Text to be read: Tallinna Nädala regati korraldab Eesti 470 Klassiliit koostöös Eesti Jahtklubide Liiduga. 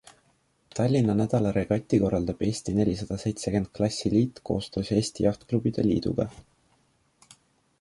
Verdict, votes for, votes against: rejected, 0, 2